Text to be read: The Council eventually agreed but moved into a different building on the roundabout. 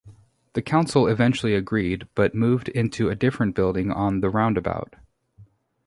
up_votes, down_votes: 2, 0